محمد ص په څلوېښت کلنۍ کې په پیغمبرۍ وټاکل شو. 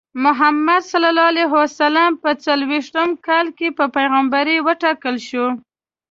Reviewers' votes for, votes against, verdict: 2, 1, accepted